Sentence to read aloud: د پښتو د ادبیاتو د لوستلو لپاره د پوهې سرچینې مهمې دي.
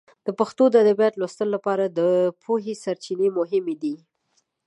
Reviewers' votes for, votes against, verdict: 2, 0, accepted